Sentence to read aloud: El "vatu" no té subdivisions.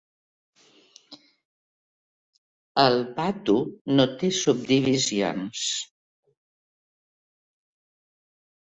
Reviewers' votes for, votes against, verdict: 3, 0, accepted